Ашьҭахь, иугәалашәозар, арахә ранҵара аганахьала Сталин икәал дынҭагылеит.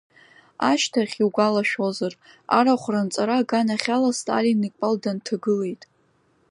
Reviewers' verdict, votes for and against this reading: accepted, 2, 0